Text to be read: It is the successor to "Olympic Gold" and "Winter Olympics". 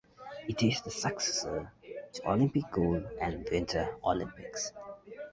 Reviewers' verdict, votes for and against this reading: rejected, 0, 2